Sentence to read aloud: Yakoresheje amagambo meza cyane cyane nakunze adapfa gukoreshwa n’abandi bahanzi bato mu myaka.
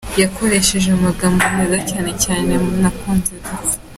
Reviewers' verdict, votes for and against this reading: rejected, 0, 2